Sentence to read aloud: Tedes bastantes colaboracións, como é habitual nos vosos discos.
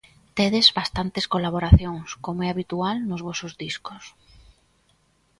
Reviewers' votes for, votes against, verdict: 2, 0, accepted